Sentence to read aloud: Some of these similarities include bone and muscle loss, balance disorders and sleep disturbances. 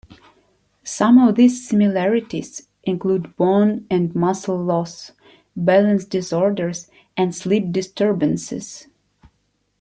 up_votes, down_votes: 2, 1